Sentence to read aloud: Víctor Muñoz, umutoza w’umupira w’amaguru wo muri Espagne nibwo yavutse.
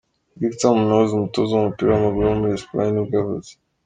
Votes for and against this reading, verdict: 3, 0, accepted